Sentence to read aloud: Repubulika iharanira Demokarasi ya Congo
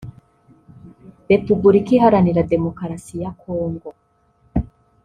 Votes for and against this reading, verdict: 2, 0, accepted